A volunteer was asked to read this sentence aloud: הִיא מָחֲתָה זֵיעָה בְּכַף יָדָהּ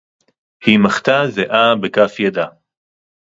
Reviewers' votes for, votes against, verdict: 0, 4, rejected